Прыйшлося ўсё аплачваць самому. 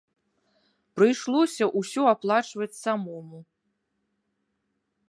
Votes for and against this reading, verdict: 0, 2, rejected